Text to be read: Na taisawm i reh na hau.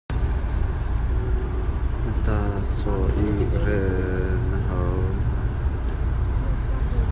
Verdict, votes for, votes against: rejected, 0, 2